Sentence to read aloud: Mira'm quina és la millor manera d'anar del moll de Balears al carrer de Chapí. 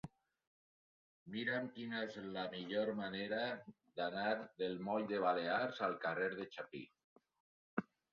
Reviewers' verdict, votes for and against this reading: rejected, 0, 2